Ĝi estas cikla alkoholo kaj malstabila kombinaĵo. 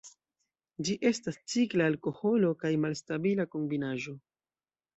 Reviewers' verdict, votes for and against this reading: rejected, 0, 2